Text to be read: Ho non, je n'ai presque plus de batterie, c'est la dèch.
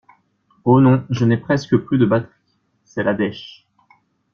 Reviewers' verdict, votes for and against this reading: rejected, 1, 2